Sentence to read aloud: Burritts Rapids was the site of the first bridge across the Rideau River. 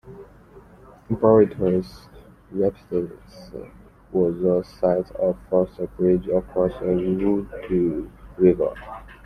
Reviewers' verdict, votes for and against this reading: rejected, 0, 2